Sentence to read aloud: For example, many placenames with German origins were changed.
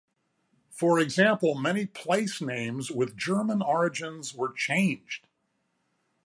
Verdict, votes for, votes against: accepted, 2, 0